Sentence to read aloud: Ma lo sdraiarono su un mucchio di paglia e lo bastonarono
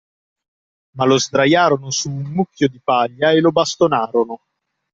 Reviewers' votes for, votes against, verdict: 2, 0, accepted